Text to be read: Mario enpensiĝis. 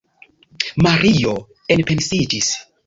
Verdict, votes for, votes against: accepted, 2, 0